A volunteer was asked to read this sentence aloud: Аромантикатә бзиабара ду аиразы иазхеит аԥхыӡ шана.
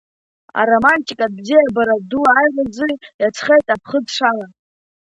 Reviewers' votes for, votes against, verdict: 2, 3, rejected